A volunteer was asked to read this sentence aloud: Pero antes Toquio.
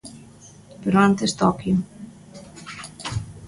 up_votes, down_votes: 2, 0